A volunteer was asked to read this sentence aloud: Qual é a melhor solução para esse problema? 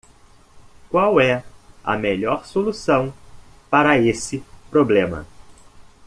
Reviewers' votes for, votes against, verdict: 2, 0, accepted